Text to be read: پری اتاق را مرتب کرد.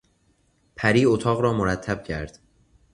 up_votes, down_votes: 2, 0